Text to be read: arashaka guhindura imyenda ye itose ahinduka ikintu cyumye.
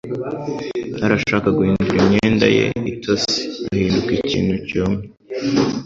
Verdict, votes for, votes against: rejected, 1, 2